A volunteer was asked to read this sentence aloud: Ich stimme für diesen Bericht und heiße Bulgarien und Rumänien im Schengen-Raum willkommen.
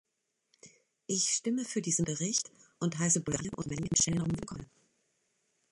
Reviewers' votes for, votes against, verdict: 0, 2, rejected